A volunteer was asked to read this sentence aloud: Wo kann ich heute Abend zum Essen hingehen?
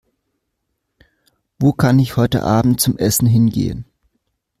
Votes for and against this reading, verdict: 2, 0, accepted